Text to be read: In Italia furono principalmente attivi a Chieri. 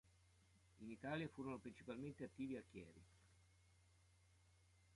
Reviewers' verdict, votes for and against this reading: accepted, 3, 1